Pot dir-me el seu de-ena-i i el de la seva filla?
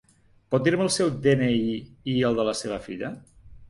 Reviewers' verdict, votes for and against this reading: rejected, 1, 2